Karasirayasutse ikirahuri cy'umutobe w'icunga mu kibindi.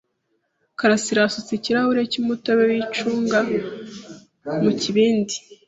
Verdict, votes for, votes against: accepted, 2, 0